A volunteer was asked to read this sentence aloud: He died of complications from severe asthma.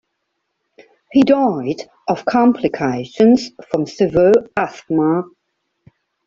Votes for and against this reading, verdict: 0, 2, rejected